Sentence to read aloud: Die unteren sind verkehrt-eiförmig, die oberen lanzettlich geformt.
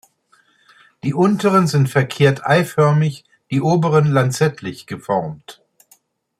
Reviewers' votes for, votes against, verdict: 2, 0, accepted